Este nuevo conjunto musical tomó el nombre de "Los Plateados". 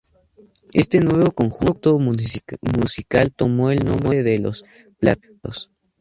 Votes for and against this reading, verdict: 0, 2, rejected